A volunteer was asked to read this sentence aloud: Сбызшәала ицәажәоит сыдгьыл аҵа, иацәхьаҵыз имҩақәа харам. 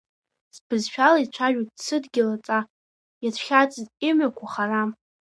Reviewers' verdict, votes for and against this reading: accepted, 3, 0